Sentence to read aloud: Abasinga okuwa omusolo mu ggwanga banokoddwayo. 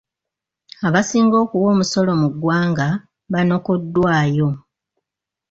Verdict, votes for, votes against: accepted, 2, 0